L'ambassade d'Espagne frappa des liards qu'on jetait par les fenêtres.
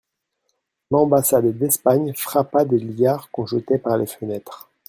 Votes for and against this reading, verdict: 2, 0, accepted